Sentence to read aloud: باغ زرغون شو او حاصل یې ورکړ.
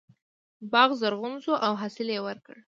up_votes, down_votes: 2, 0